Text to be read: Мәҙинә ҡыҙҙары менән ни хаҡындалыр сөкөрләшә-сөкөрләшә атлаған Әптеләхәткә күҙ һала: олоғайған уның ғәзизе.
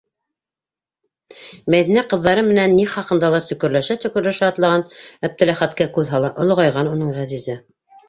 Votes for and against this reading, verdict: 0, 2, rejected